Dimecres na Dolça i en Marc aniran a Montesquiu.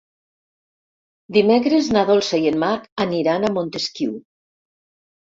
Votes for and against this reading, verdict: 0, 2, rejected